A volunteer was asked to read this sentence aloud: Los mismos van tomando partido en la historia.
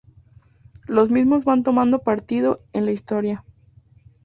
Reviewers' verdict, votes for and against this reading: accepted, 2, 0